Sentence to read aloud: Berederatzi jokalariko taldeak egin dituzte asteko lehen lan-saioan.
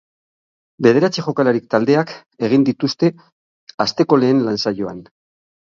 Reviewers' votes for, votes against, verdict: 0, 6, rejected